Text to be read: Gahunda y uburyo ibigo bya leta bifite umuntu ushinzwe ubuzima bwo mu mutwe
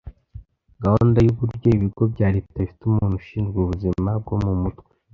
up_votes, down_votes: 2, 0